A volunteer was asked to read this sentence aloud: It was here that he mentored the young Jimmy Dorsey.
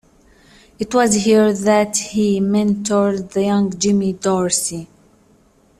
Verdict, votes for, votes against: accepted, 2, 0